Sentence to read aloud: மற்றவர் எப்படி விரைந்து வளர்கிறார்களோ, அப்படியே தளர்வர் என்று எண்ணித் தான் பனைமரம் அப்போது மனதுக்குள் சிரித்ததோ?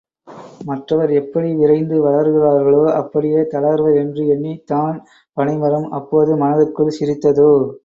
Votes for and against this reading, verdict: 2, 0, accepted